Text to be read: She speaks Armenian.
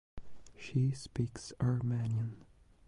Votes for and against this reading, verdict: 2, 0, accepted